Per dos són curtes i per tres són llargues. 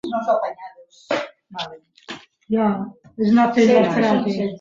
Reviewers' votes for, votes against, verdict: 0, 3, rejected